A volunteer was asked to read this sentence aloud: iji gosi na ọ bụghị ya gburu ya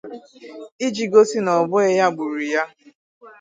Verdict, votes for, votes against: accepted, 4, 0